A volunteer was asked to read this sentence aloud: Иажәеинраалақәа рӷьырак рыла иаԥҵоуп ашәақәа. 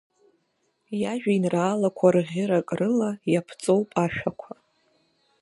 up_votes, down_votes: 2, 0